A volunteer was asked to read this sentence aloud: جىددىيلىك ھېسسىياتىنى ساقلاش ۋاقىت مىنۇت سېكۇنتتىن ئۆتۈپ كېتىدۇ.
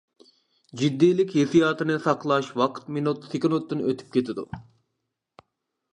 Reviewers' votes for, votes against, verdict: 2, 0, accepted